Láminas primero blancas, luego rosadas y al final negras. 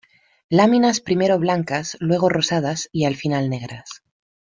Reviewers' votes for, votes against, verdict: 2, 0, accepted